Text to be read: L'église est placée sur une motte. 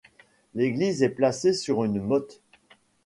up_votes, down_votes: 2, 0